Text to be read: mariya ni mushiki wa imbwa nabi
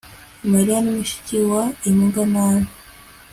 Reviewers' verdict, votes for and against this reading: accepted, 2, 0